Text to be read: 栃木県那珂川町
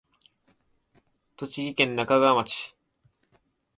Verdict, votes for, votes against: accepted, 2, 0